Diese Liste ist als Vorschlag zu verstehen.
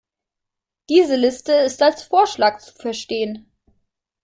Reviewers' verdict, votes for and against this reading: accepted, 2, 0